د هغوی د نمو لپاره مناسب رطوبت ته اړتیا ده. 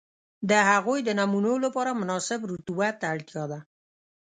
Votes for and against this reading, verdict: 1, 2, rejected